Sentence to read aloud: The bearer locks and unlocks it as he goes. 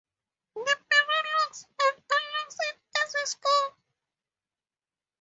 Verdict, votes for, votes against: rejected, 0, 4